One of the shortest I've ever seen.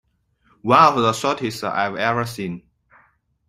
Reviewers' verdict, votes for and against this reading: accepted, 2, 1